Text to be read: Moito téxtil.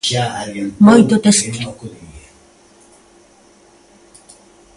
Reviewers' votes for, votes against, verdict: 1, 3, rejected